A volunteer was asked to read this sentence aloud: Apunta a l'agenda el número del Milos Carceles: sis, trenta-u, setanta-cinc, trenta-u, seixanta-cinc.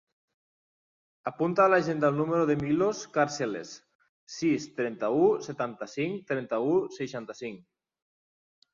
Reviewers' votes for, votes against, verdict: 2, 0, accepted